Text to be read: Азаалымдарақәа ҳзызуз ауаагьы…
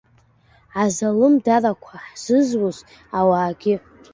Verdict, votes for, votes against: rejected, 1, 2